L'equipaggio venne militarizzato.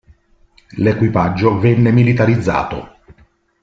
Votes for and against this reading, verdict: 2, 0, accepted